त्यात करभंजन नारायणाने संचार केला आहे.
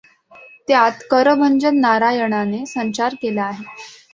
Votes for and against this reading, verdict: 2, 0, accepted